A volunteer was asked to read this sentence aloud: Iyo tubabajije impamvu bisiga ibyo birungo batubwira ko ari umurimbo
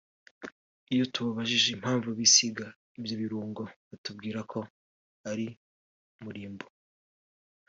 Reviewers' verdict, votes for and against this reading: accepted, 2, 1